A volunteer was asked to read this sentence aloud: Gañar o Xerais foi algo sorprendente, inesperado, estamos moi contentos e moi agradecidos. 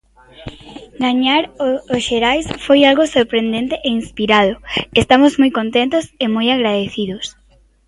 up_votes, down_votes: 1, 2